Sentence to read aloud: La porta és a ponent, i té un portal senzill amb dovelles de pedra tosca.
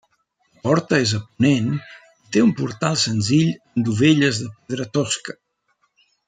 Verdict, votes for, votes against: rejected, 0, 2